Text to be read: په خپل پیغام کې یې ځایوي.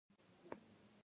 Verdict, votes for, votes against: rejected, 0, 2